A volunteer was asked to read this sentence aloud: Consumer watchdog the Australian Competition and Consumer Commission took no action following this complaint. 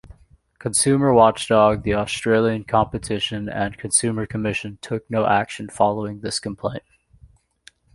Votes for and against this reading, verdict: 2, 0, accepted